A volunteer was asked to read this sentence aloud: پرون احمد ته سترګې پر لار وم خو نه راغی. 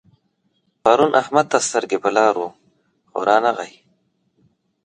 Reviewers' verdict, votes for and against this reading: accepted, 2, 0